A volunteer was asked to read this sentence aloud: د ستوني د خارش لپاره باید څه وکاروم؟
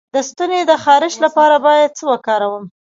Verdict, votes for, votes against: rejected, 1, 2